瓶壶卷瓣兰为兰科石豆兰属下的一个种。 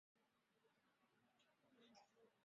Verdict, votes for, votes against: rejected, 0, 3